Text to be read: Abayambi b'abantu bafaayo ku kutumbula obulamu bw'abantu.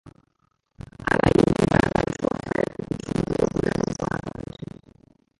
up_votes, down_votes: 0, 2